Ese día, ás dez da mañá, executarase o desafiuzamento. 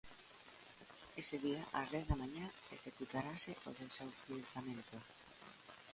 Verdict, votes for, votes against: rejected, 0, 2